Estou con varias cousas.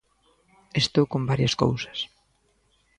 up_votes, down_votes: 2, 0